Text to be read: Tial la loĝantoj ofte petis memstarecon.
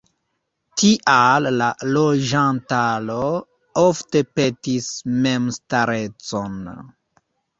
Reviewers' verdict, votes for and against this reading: rejected, 0, 2